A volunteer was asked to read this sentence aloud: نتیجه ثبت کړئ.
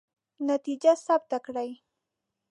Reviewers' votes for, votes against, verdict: 1, 2, rejected